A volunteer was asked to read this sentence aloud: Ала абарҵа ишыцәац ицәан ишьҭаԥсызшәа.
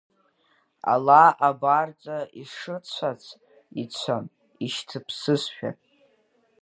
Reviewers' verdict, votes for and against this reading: rejected, 1, 2